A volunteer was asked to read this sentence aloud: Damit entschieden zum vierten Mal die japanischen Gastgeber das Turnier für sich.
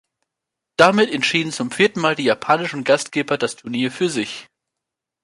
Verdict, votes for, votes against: accepted, 2, 0